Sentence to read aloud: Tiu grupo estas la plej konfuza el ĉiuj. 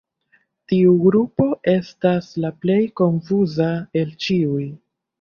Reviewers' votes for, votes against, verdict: 0, 2, rejected